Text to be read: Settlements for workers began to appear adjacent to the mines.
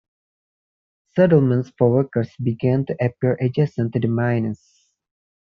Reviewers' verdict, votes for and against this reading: rejected, 0, 2